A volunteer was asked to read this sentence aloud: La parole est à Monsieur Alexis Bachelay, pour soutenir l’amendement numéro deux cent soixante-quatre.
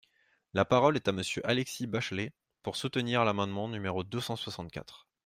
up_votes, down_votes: 2, 0